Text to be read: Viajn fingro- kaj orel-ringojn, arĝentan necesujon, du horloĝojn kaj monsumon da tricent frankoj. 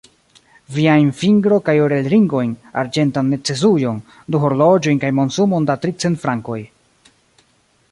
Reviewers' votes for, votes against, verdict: 1, 2, rejected